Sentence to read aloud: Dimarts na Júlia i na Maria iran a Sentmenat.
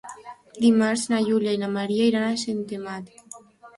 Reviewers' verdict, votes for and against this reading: rejected, 1, 4